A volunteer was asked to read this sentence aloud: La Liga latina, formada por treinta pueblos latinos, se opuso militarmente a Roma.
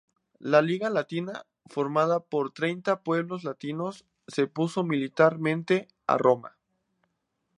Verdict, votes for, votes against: accepted, 2, 0